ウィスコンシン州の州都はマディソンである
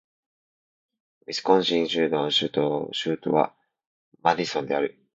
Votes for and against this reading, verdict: 0, 2, rejected